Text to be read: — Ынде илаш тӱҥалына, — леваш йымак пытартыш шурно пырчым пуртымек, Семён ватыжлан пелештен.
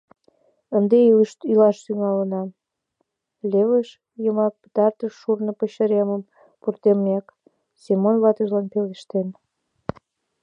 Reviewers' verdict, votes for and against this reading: rejected, 1, 2